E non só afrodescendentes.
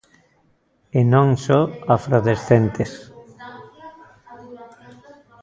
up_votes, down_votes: 0, 2